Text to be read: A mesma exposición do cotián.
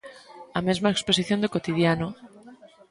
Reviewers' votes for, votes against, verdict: 0, 2, rejected